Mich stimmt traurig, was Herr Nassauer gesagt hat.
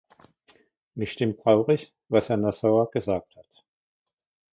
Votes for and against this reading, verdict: 1, 2, rejected